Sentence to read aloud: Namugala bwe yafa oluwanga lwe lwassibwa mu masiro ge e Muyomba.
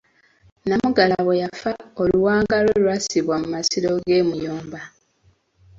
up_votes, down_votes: 2, 1